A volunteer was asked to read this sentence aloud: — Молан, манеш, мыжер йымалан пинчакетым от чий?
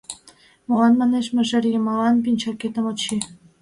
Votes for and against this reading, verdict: 2, 1, accepted